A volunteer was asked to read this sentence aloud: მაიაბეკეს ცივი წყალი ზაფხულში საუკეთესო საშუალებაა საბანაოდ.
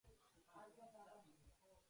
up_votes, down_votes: 0, 2